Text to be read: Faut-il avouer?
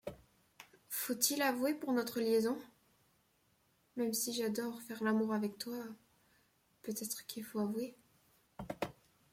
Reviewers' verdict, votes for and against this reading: rejected, 0, 2